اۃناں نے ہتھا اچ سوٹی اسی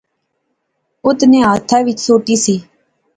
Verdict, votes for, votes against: accepted, 2, 0